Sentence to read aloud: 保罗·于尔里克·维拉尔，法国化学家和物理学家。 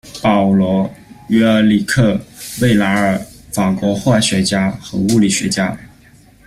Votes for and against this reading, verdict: 2, 0, accepted